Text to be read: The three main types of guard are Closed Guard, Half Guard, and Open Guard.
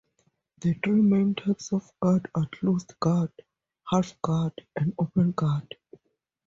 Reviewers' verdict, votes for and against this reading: accepted, 4, 0